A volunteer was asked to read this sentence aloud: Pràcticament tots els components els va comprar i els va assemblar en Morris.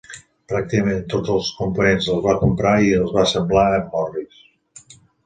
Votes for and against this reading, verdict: 0, 2, rejected